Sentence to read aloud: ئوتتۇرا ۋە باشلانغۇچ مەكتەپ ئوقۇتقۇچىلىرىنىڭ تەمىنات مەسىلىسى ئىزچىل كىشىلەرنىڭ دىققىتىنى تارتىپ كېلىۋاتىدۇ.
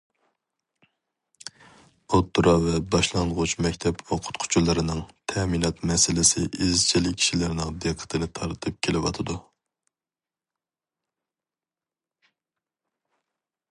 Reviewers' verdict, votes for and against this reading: accepted, 2, 0